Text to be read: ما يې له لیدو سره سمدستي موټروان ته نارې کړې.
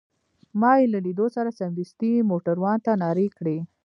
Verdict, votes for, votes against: accepted, 2, 1